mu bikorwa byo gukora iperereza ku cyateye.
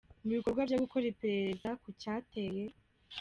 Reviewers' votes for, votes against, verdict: 1, 2, rejected